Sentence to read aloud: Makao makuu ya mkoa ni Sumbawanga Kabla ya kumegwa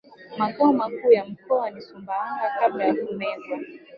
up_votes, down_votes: 1, 2